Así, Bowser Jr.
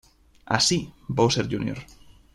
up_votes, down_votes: 2, 0